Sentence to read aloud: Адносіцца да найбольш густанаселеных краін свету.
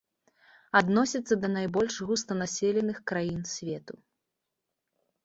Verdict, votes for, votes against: accepted, 2, 0